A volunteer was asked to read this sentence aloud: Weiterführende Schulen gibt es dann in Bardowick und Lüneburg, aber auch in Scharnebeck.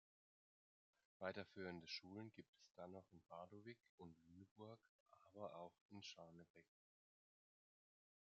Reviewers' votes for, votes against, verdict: 2, 0, accepted